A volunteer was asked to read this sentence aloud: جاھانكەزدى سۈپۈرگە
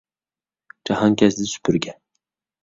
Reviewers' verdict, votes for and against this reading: accepted, 2, 0